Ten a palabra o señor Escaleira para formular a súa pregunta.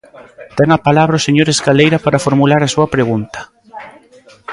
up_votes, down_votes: 1, 2